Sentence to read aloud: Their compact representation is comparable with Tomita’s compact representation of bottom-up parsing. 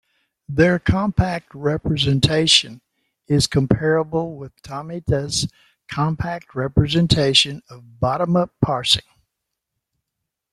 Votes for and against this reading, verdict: 2, 0, accepted